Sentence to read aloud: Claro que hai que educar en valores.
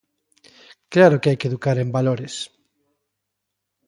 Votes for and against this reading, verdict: 3, 0, accepted